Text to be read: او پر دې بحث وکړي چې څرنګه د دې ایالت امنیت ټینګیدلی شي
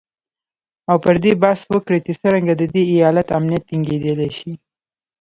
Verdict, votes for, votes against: rejected, 1, 2